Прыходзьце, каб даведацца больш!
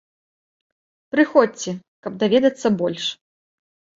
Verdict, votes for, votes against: accepted, 2, 1